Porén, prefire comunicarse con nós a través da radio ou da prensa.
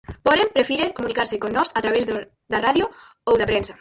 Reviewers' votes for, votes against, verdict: 0, 4, rejected